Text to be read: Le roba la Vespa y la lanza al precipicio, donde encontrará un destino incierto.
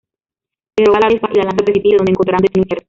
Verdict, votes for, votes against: rejected, 0, 2